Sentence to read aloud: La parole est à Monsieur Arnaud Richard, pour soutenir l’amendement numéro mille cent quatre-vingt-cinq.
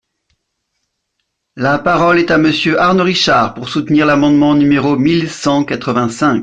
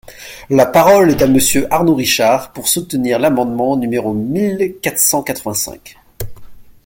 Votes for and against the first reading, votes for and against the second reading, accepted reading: 2, 0, 1, 2, first